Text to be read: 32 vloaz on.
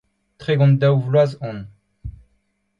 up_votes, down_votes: 0, 2